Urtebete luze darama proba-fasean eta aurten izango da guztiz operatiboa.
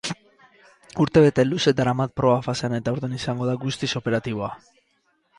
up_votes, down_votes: 4, 0